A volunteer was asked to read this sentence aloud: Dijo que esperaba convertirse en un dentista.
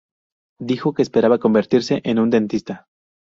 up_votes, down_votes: 0, 2